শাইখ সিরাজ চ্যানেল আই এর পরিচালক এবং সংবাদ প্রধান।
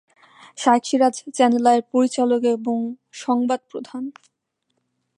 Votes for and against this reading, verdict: 2, 0, accepted